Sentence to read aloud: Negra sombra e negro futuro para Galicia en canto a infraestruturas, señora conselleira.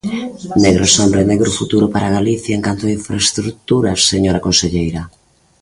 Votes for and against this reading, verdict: 2, 0, accepted